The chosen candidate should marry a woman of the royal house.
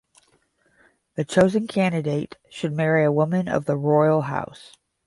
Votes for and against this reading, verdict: 5, 0, accepted